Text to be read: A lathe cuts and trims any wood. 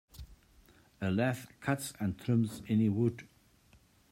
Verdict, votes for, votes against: rejected, 0, 2